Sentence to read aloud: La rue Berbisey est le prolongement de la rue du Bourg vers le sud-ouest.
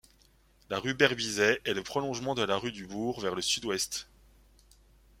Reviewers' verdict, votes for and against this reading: accepted, 2, 0